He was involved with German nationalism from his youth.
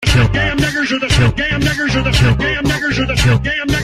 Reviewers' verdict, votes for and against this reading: rejected, 0, 2